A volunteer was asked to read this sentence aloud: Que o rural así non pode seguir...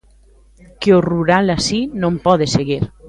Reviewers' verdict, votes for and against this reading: accepted, 2, 0